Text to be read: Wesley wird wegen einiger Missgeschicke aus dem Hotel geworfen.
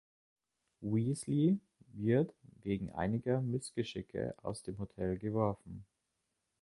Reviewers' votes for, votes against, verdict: 1, 2, rejected